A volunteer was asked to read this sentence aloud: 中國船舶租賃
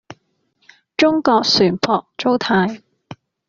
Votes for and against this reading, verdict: 2, 0, accepted